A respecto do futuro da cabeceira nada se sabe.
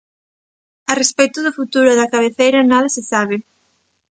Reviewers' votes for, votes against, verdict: 3, 0, accepted